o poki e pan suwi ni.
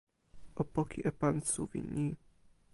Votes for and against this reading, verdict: 1, 2, rejected